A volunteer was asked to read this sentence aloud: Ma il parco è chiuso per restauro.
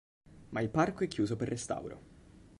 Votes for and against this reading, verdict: 3, 0, accepted